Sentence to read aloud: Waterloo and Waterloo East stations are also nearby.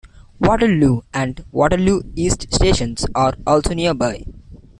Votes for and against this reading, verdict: 2, 0, accepted